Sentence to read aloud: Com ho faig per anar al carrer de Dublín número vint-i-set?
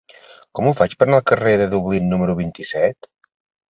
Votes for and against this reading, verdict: 2, 0, accepted